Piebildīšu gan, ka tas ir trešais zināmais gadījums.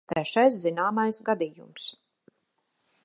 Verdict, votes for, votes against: rejected, 0, 2